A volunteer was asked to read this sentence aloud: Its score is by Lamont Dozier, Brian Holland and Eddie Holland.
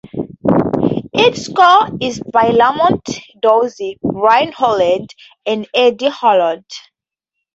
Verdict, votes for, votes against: accepted, 4, 0